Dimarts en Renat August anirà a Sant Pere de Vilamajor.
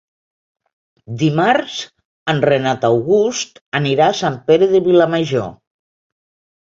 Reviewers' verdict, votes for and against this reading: accepted, 2, 0